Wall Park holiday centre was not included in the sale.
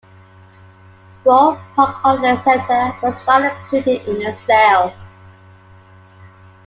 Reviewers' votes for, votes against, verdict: 0, 2, rejected